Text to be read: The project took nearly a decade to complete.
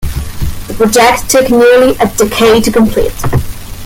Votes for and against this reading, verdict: 0, 2, rejected